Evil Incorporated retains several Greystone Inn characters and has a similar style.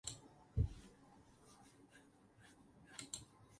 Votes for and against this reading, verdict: 0, 4, rejected